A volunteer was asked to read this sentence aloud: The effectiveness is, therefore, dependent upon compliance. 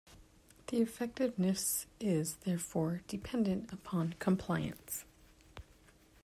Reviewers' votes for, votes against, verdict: 2, 0, accepted